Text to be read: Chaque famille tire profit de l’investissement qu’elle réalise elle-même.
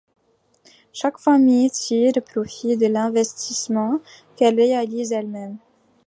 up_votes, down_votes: 2, 0